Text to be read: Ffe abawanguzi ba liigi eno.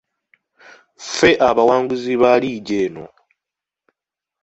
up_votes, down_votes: 2, 0